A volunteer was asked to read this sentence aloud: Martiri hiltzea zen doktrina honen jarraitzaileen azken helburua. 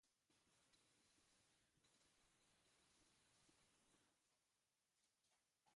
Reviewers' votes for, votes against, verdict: 0, 2, rejected